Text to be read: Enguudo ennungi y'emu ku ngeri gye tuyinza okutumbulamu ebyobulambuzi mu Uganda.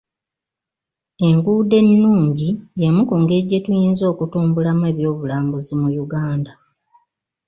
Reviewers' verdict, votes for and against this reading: accepted, 2, 0